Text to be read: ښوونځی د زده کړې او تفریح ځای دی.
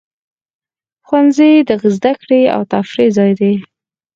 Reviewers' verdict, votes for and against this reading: accepted, 4, 2